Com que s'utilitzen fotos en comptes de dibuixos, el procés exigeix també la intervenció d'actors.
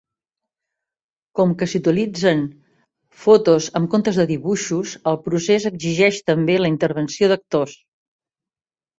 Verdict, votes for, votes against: accepted, 2, 1